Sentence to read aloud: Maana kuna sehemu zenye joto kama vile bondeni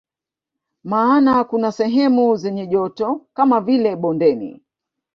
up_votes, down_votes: 0, 2